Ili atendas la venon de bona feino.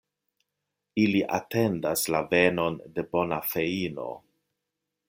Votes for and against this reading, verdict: 2, 0, accepted